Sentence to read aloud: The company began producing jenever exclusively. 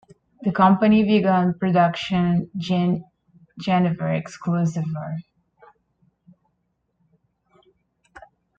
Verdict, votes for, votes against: rejected, 1, 2